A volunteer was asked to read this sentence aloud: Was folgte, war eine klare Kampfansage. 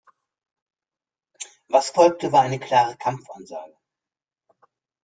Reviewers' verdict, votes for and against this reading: accepted, 2, 0